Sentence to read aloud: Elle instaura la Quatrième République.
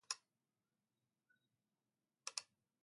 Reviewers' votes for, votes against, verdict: 0, 2, rejected